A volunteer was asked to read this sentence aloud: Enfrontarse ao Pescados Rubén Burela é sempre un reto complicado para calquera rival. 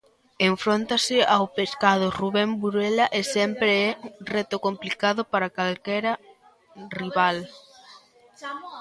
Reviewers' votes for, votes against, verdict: 0, 2, rejected